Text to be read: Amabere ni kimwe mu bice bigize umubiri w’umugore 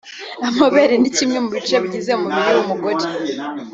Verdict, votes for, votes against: accepted, 2, 0